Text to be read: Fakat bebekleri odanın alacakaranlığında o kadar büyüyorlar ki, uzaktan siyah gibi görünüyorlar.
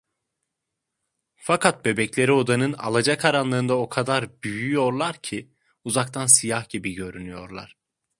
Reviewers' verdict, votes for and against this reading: accepted, 2, 0